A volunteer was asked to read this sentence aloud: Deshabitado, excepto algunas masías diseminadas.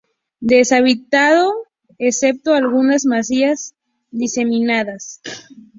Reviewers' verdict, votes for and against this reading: accepted, 2, 0